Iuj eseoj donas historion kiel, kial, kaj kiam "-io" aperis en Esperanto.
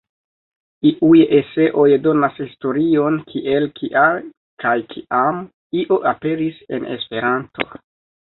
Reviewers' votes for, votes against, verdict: 2, 1, accepted